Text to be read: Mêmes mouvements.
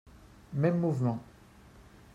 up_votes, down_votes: 3, 0